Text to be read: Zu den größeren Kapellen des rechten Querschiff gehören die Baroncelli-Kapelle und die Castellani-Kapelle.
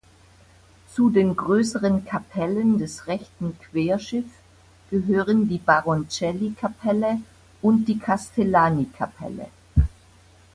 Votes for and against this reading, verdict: 2, 0, accepted